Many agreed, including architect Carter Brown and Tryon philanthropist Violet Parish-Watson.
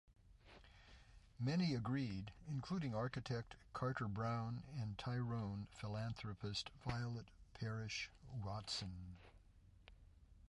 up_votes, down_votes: 0, 2